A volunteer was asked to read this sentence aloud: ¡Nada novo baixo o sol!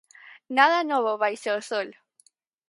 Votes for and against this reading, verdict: 4, 0, accepted